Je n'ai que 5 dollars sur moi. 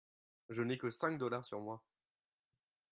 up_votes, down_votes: 0, 2